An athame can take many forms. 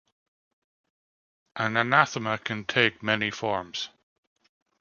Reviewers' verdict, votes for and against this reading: rejected, 0, 2